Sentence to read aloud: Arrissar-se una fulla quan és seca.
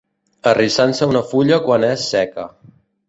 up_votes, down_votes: 1, 2